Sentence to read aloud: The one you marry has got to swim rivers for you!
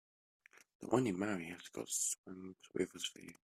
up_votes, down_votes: 1, 2